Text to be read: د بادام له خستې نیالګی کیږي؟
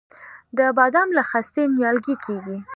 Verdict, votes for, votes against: accepted, 2, 0